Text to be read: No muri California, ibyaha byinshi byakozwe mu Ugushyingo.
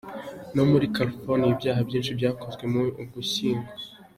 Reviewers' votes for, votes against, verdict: 2, 0, accepted